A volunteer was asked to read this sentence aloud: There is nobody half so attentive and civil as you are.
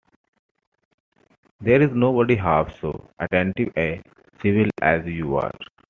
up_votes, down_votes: 2, 0